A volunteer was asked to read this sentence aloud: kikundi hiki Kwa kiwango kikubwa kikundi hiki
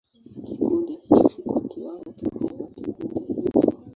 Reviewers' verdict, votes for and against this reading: rejected, 0, 2